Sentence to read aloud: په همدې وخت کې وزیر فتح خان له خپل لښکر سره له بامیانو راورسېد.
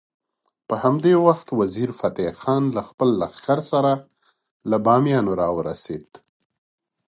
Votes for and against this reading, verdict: 1, 2, rejected